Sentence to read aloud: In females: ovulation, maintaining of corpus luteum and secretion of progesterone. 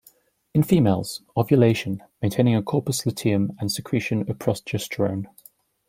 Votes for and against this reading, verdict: 2, 0, accepted